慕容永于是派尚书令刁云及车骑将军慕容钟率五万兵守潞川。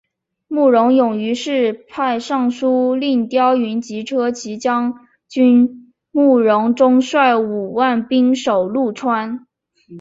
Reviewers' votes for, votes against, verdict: 2, 1, accepted